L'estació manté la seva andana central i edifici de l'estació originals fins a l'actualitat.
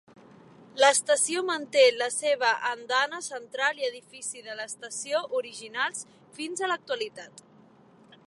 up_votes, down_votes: 3, 0